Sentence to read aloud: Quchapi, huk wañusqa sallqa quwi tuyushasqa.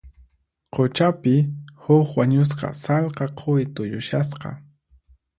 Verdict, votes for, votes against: accepted, 4, 0